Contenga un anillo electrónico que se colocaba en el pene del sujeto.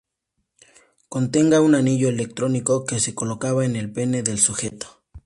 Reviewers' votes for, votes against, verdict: 2, 0, accepted